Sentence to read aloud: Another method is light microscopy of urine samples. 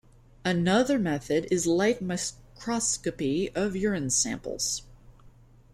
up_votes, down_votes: 0, 2